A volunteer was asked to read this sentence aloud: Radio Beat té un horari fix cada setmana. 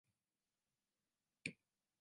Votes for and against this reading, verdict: 0, 3, rejected